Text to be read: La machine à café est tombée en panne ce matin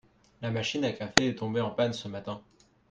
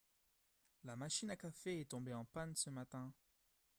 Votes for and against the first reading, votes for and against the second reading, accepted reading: 3, 0, 0, 2, first